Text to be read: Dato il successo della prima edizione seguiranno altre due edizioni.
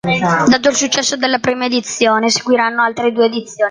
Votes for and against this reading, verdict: 0, 2, rejected